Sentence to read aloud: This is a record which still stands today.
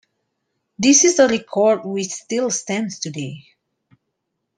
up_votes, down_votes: 2, 0